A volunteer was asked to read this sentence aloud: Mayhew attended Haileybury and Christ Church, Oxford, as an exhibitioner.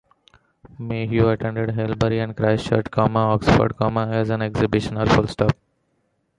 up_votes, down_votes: 1, 2